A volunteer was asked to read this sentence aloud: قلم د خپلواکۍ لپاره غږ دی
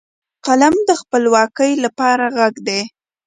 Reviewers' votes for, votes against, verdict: 2, 0, accepted